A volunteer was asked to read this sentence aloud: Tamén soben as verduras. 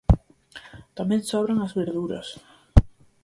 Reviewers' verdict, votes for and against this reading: rejected, 0, 4